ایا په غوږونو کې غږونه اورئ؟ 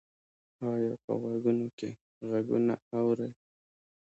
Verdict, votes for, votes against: accepted, 3, 0